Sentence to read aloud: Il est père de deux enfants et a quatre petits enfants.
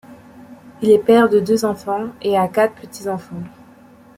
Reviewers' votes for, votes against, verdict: 2, 0, accepted